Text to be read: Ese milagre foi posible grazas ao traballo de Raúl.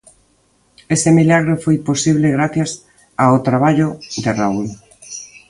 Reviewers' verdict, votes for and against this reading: rejected, 1, 2